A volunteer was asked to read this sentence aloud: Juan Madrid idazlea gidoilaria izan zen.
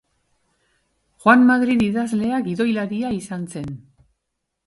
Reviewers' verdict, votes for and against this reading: accepted, 2, 0